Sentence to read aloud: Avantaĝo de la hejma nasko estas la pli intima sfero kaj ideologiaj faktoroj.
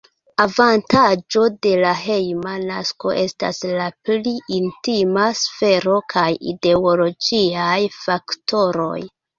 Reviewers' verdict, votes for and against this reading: rejected, 0, 2